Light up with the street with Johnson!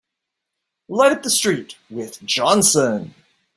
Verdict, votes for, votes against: accepted, 2, 0